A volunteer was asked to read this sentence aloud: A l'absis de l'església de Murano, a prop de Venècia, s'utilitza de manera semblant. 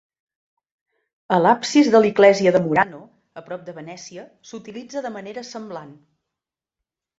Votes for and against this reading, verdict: 1, 2, rejected